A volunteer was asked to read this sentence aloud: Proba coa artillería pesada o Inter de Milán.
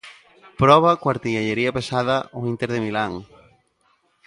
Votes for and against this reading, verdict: 1, 2, rejected